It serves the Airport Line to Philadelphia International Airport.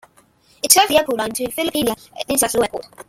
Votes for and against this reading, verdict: 0, 2, rejected